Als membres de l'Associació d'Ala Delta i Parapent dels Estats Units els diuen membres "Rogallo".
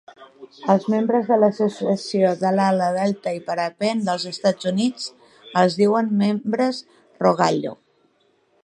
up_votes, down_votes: 2, 0